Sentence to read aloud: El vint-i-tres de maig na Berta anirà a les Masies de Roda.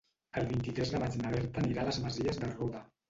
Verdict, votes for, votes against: rejected, 1, 2